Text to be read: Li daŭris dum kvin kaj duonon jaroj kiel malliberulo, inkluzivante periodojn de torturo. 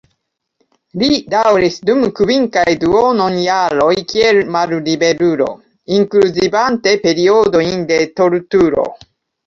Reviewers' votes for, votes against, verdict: 2, 1, accepted